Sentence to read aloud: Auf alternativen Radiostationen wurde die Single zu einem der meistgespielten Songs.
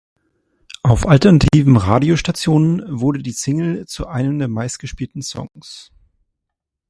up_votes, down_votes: 2, 1